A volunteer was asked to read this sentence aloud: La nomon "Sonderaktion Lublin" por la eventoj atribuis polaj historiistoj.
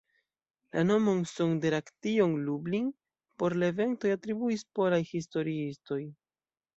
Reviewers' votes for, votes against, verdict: 2, 0, accepted